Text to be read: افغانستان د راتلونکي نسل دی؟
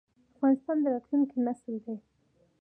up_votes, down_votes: 2, 0